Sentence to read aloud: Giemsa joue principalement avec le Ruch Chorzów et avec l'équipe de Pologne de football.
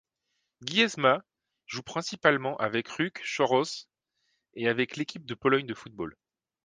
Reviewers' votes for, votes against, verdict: 1, 2, rejected